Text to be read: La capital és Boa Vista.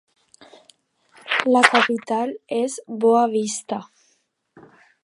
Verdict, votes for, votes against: accepted, 3, 0